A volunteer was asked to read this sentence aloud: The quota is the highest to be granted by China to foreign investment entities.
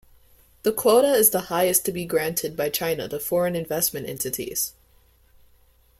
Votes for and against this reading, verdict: 2, 0, accepted